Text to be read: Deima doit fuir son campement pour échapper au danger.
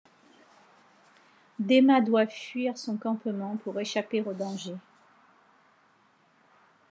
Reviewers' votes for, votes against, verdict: 2, 0, accepted